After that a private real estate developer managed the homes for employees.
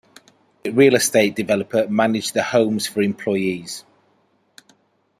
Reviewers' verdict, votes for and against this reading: rejected, 0, 2